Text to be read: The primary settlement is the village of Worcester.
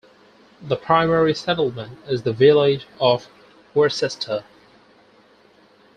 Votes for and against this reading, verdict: 4, 2, accepted